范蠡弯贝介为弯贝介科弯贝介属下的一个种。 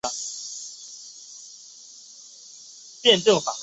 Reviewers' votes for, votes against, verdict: 0, 3, rejected